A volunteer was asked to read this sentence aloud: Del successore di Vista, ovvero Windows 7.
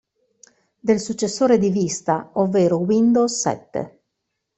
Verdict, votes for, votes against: rejected, 0, 2